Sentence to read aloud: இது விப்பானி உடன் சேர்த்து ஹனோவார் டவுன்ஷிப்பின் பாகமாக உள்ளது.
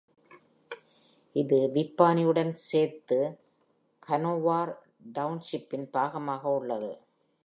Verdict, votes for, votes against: accepted, 2, 0